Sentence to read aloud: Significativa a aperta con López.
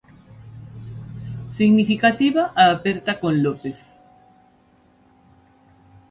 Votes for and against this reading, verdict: 1, 2, rejected